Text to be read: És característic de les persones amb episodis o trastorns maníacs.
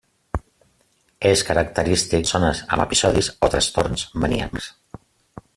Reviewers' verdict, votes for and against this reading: rejected, 0, 2